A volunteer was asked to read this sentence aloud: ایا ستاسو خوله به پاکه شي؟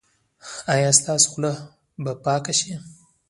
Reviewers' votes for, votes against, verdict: 2, 0, accepted